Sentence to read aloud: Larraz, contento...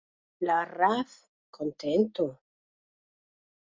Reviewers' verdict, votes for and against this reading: rejected, 0, 4